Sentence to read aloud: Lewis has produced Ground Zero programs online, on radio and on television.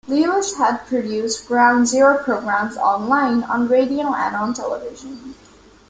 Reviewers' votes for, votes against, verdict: 2, 0, accepted